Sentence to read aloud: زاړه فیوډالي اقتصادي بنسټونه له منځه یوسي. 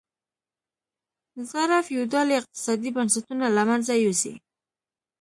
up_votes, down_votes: 2, 0